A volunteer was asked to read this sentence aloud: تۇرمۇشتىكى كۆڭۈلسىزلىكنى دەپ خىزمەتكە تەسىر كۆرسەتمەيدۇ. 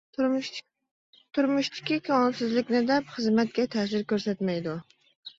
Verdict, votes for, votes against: accepted, 2, 1